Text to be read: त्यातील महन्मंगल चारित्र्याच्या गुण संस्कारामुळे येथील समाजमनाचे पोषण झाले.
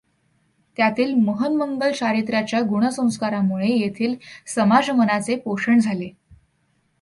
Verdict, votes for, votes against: accepted, 2, 0